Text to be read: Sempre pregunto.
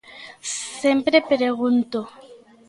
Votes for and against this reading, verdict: 2, 0, accepted